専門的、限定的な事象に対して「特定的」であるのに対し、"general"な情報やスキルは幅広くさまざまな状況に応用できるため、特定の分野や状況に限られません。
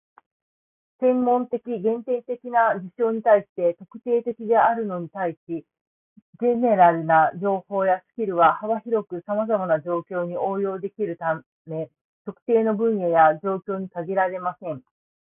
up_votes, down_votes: 2, 0